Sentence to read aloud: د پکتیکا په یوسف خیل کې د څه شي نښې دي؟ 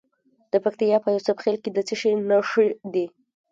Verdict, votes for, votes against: rejected, 0, 2